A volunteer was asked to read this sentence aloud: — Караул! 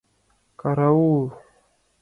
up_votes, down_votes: 4, 2